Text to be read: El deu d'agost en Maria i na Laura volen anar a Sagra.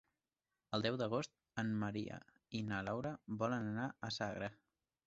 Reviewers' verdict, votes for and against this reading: accepted, 3, 0